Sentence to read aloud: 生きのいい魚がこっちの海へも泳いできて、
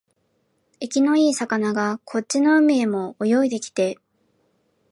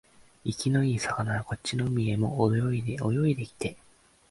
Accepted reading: first